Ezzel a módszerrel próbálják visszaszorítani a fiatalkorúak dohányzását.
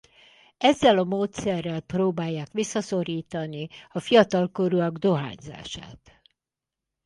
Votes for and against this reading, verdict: 4, 2, accepted